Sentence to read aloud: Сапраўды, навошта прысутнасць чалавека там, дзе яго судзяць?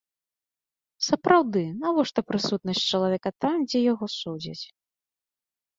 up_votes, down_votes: 6, 0